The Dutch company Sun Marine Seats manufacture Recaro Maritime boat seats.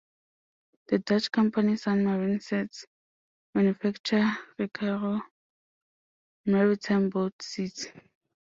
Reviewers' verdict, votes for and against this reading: rejected, 0, 2